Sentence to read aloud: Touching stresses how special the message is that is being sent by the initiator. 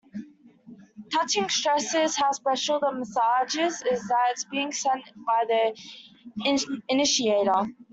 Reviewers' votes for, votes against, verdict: 0, 2, rejected